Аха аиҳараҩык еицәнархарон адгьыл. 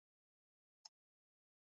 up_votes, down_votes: 0, 3